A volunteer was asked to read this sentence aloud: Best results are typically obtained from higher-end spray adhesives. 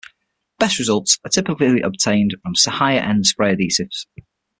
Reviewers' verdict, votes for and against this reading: rejected, 0, 6